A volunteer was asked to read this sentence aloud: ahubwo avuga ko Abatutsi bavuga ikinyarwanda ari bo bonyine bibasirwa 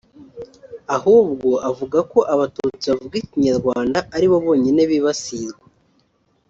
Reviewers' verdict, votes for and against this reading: rejected, 1, 2